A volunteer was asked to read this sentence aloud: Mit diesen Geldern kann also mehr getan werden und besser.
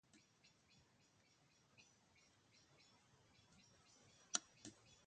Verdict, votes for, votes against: rejected, 0, 2